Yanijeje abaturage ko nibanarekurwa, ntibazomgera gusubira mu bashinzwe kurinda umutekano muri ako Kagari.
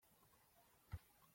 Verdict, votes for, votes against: rejected, 0, 2